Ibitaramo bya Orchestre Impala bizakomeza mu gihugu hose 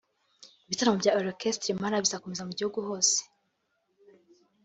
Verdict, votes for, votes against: accepted, 2, 0